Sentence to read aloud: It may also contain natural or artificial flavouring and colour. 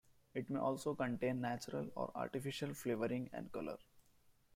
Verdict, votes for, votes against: rejected, 0, 2